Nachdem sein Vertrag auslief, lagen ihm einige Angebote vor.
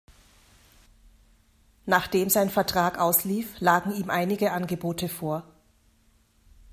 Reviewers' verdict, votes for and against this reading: accepted, 2, 0